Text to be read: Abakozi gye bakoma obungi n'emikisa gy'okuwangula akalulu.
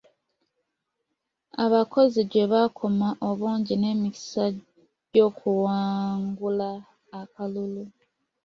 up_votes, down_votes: 2, 0